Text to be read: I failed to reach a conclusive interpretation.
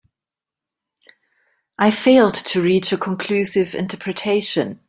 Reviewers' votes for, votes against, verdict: 2, 0, accepted